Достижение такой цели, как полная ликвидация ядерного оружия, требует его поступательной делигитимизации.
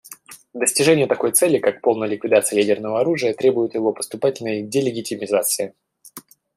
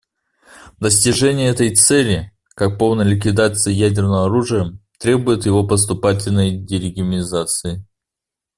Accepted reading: first